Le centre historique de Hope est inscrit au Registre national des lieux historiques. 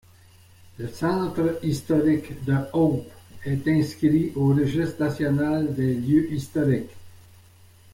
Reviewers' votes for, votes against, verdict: 1, 2, rejected